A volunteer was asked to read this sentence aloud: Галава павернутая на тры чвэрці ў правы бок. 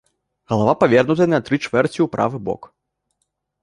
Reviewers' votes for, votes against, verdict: 3, 0, accepted